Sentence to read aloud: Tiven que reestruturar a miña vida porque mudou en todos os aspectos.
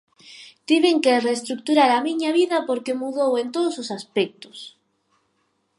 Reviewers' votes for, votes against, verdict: 6, 0, accepted